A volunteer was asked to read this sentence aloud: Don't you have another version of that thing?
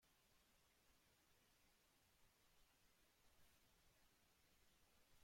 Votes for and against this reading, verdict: 0, 2, rejected